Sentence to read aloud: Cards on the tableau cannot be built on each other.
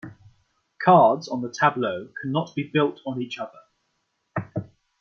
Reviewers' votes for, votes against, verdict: 2, 0, accepted